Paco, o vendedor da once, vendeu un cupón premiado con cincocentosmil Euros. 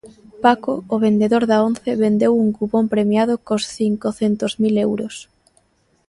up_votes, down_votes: 0, 2